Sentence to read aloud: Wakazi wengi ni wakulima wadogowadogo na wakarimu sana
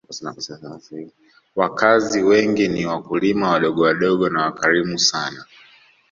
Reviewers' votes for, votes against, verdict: 1, 2, rejected